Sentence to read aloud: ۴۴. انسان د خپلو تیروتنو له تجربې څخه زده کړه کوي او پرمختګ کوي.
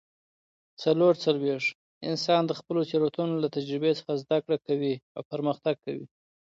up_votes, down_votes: 0, 2